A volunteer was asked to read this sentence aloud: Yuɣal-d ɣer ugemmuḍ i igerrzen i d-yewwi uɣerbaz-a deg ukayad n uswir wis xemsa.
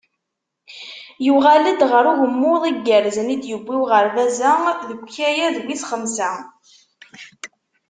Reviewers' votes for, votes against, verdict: 0, 2, rejected